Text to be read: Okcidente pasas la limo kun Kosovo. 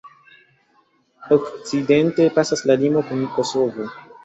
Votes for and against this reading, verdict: 2, 1, accepted